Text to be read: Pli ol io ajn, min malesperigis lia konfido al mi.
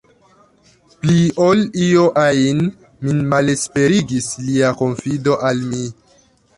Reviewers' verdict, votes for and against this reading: rejected, 1, 2